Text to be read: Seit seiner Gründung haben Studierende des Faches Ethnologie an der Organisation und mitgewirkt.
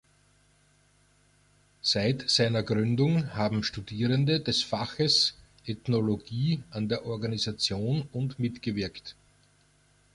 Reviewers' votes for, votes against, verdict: 2, 0, accepted